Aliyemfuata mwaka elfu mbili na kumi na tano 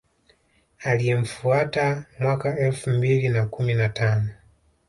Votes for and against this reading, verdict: 1, 2, rejected